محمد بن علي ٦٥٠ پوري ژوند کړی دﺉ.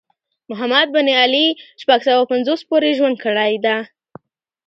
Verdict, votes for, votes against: rejected, 0, 2